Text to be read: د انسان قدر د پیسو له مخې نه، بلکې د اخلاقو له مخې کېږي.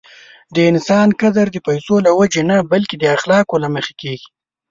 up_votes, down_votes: 1, 2